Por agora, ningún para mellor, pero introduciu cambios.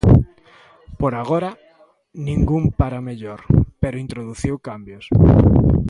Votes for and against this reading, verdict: 2, 0, accepted